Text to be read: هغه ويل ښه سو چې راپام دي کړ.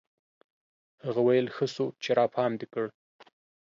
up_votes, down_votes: 2, 0